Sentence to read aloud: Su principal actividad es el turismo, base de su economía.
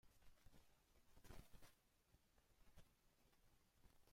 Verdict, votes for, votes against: rejected, 0, 2